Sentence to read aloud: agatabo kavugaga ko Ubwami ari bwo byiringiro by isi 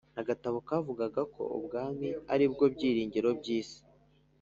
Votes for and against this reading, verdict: 2, 0, accepted